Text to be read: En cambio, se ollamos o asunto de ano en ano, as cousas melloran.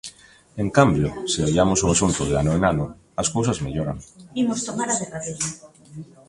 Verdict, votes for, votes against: rejected, 0, 2